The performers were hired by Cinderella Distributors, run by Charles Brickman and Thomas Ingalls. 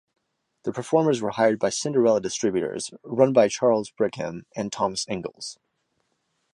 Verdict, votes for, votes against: rejected, 0, 2